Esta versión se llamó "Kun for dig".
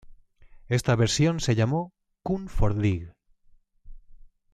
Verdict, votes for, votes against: accepted, 2, 0